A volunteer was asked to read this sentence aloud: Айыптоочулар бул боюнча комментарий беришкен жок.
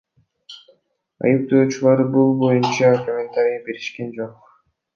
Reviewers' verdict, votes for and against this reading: rejected, 1, 2